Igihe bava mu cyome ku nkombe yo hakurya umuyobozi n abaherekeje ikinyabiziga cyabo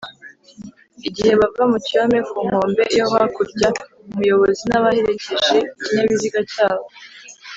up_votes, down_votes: 2, 0